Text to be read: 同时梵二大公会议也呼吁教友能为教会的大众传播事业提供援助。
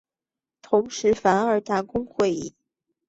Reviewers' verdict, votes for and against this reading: rejected, 0, 3